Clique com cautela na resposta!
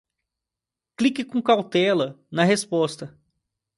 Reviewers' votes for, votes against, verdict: 2, 0, accepted